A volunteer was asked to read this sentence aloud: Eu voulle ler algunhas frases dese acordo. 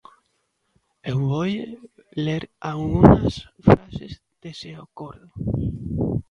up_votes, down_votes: 0, 2